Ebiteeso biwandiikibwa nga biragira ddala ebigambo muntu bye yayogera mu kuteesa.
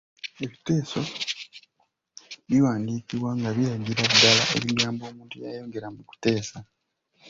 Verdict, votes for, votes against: rejected, 0, 2